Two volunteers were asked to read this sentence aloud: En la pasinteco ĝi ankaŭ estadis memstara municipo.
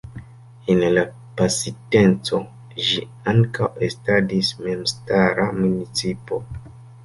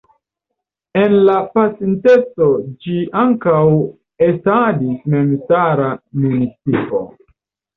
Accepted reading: second